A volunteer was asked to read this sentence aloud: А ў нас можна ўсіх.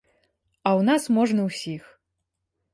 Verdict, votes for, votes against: accepted, 2, 0